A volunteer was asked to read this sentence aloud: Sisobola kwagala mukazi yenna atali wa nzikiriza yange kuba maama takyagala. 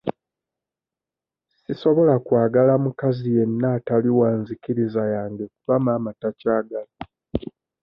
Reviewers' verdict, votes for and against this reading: rejected, 0, 2